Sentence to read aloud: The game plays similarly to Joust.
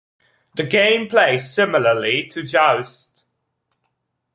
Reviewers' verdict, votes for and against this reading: accepted, 2, 0